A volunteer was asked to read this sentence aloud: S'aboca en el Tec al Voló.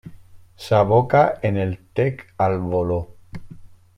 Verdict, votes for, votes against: accepted, 3, 0